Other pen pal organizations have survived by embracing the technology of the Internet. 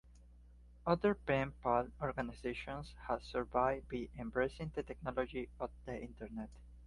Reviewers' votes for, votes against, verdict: 2, 0, accepted